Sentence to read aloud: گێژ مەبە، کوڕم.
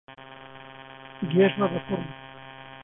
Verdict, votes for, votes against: rejected, 0, 2